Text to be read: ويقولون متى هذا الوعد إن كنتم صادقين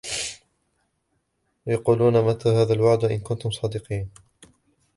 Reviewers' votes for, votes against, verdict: 1, 2, rejected